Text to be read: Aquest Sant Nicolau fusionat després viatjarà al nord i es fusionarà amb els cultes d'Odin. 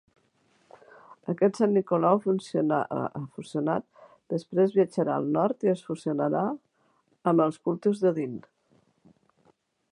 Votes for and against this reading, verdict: 0, 2, rejected